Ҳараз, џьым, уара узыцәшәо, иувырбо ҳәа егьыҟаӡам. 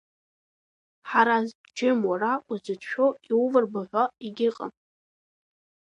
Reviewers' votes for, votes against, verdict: 0, 2, rejected